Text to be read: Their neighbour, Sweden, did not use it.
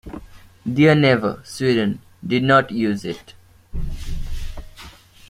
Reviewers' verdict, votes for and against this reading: rejected, 1, 2